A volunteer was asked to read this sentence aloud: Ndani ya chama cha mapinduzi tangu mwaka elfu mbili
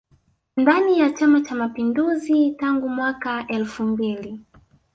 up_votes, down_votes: 1, 2